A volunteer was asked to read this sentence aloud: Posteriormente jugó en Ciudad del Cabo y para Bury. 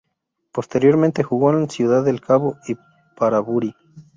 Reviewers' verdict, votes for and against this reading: accepted, 2, 0